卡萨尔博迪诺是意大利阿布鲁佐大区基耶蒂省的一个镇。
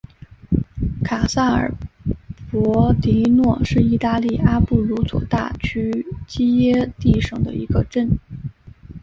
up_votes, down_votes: 2, 0